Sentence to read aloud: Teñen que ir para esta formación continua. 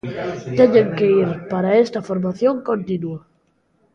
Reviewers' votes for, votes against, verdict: 1, 2, rejected